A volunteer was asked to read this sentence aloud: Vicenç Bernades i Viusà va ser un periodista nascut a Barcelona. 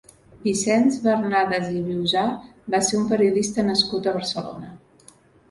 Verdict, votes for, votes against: accepted, 3, 0